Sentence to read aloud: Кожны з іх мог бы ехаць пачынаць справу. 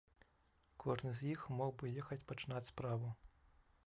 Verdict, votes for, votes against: accepted, 2, 0